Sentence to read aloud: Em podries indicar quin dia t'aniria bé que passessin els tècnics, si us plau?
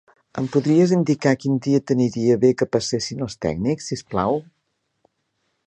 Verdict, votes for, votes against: accepted, 4, 0